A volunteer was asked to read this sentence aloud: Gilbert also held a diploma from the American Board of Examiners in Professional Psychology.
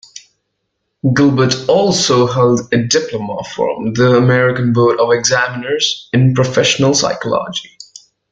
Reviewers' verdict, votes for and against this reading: rejected, 1, 2